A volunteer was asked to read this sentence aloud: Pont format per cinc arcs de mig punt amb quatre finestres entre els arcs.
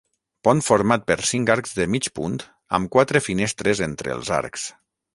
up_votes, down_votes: 6, 0